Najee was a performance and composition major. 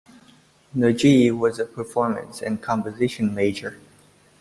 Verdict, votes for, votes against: accepted, 2, 0